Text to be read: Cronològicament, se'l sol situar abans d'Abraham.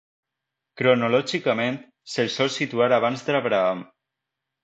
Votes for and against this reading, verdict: 2, 0, accepted